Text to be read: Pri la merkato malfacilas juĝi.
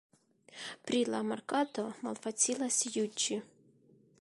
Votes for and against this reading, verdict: 2, 0, accepted